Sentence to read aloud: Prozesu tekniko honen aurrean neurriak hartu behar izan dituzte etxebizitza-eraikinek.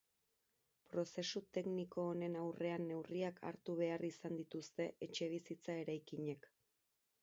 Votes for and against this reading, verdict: 8, 18, rejected